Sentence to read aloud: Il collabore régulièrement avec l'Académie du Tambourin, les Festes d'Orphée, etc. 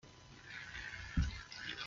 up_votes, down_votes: 0, 2